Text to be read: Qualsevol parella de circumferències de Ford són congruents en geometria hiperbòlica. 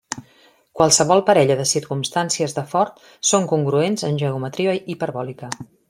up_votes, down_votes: 1, 2